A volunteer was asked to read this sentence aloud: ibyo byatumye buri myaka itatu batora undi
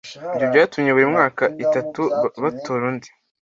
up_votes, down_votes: 1, 2